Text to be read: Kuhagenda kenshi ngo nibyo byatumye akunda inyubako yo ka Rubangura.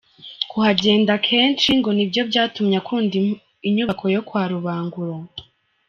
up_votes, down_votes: 0, 3